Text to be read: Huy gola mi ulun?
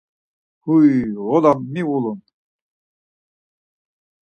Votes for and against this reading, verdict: 0, 4, rejected